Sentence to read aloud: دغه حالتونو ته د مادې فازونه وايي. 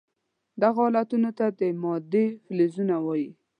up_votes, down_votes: 1, 2